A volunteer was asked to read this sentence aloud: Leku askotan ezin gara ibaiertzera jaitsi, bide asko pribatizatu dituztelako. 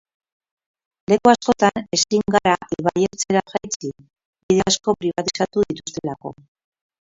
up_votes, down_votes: 2, 4